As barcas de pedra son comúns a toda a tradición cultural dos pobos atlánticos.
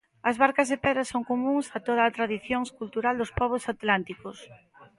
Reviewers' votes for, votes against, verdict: 2, 0, accepted